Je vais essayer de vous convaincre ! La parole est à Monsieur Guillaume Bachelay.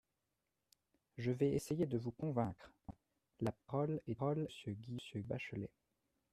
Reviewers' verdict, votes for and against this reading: rejected, 0, 2